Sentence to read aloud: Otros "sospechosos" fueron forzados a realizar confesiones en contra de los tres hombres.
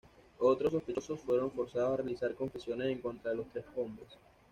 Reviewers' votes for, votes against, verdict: 2, 0, accepted